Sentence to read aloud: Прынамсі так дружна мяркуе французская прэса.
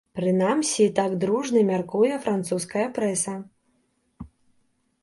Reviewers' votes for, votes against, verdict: 2, 0, accepted